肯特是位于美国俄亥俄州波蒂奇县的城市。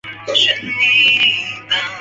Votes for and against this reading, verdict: 0, 4, rejected